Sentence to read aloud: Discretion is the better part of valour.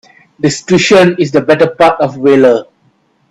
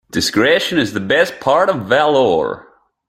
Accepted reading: first